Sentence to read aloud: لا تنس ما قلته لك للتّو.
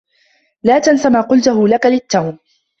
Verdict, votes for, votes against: rejected, 1, 2